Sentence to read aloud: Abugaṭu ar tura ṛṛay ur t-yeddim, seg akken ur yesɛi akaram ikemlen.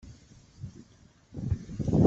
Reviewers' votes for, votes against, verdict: 0, 2, rejected